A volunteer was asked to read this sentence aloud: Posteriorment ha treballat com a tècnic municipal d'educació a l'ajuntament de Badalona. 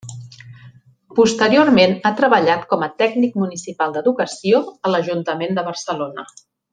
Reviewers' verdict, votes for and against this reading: rejected, 1, 2